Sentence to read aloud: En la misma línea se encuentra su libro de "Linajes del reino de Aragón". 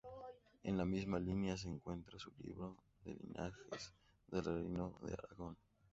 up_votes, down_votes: 2, 4